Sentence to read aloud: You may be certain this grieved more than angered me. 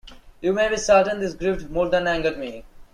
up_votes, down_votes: 1, 2